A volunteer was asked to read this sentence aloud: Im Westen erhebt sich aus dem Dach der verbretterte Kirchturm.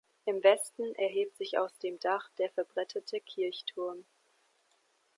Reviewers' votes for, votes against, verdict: 1, 2, rejected